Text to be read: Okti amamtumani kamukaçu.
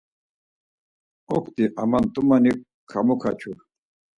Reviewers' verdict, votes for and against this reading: accepted, 4, 0